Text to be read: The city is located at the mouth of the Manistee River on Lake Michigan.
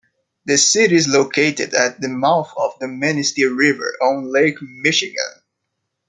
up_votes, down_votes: 2, 0